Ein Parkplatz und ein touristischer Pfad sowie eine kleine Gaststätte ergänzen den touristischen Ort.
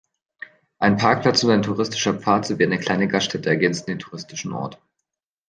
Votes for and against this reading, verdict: 1, 2, rejected